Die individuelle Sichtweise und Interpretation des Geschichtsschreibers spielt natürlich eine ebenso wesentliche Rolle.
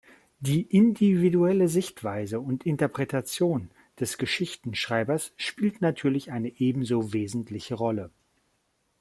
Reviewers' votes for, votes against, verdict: 1, 2, rejected